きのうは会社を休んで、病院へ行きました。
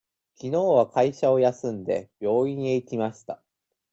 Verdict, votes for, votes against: accepted, 2, 0